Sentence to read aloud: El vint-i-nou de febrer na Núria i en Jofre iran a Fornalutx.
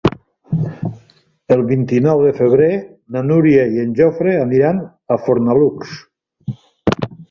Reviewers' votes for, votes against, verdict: 2, 0, accepted